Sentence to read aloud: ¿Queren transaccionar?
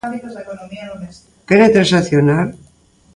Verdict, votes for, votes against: rejected, 0, 2